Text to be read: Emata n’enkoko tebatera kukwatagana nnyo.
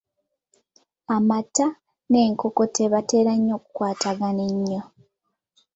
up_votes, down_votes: 0, 2